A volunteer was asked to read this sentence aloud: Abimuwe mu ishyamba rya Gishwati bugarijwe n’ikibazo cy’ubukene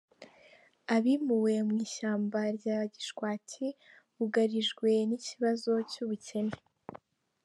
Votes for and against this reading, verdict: 2, 1, accepted